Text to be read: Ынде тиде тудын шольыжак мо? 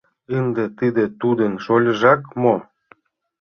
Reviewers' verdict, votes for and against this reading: rejected, 1, 2